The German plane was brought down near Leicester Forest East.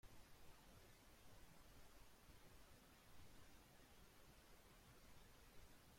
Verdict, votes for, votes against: rejected, 0, 2